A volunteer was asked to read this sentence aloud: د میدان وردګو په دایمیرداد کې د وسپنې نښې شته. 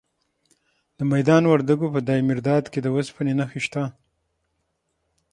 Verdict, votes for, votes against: accepted, 6, 0